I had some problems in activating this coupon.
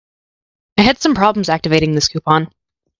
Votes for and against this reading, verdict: 1, 2, rejected